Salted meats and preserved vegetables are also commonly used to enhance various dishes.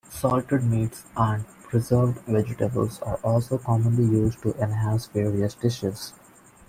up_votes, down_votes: 1, 2